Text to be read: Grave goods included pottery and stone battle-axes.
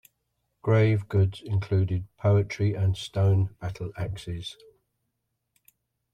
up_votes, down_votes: 1, 2